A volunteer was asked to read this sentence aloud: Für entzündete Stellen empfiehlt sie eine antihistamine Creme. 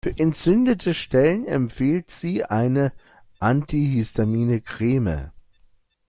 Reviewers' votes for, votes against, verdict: 0, 2, rejected